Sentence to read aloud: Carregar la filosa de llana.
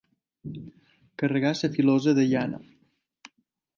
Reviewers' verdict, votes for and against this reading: rejected, 0, 2